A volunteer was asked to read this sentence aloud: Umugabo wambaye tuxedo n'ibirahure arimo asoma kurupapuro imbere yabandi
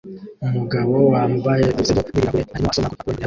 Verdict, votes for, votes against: rejected, 0, 2